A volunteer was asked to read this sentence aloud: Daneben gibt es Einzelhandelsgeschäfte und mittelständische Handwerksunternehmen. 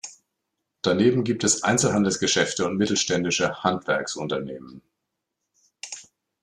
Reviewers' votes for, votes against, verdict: 2, 0, accepted